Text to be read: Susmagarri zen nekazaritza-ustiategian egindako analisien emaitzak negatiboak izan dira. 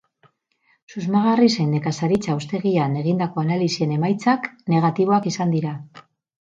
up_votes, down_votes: 2, 4